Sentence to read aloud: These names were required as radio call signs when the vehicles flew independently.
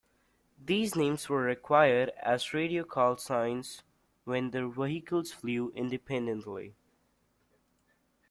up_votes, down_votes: 0, 2